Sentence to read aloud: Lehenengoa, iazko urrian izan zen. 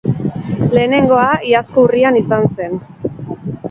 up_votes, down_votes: 4, 0